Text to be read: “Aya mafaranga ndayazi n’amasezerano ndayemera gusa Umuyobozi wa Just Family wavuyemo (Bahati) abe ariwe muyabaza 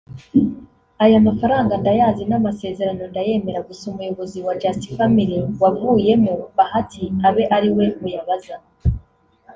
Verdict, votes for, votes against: accepted, 2, 0